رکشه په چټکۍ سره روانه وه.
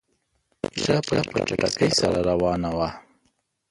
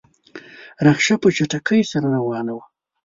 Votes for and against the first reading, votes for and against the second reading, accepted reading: 0, 3, 2, 0, second